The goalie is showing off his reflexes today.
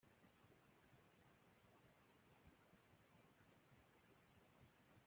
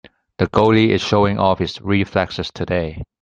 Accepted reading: second